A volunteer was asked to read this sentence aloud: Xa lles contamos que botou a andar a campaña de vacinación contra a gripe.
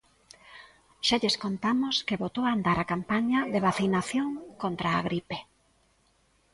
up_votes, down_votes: 1, 2